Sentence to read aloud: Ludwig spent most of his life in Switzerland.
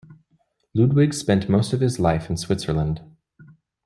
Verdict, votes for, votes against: accepted, 2, 0